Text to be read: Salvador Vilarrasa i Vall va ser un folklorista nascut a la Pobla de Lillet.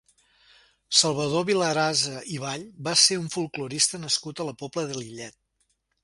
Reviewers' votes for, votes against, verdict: 1, 2, rejected